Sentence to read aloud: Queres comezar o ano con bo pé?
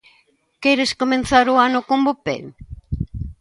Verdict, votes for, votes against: rejected, 0, 2